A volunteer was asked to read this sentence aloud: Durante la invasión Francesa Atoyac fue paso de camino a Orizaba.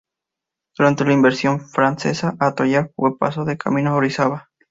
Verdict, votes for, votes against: rejected, 0, 2